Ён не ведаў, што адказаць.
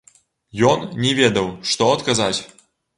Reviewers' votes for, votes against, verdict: 2, 0, accepted